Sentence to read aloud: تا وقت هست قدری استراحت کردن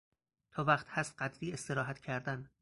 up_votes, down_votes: 2, 2